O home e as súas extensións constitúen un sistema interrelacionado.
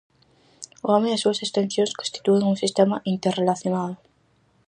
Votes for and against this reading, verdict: 4, 0, accepted